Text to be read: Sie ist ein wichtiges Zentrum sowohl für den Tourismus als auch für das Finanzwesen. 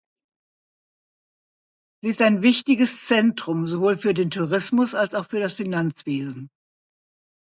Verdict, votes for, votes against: accepted, 2, 0